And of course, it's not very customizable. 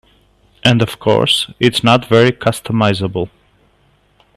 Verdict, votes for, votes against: accepted, 2, 0